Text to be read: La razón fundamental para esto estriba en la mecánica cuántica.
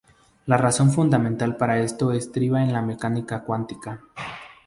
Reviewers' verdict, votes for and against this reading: accepted, 2, 0